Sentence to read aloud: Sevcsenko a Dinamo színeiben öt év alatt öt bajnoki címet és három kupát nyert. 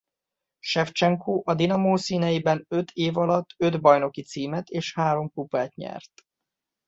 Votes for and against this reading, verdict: 2, 0, accepted